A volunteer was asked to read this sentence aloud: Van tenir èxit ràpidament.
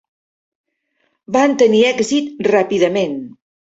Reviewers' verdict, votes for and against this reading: accepted, 4, 1